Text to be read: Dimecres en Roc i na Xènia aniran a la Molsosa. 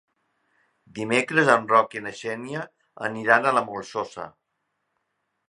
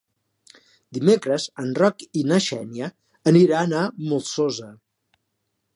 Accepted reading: first